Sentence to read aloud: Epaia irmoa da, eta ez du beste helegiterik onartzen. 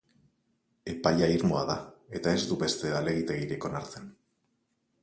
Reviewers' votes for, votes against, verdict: 4, 0, accepted